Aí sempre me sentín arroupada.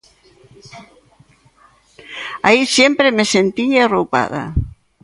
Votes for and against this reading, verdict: 1, 2, rejected